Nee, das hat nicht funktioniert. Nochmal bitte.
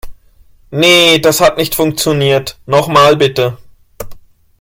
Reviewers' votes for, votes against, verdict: 2, 1, accepted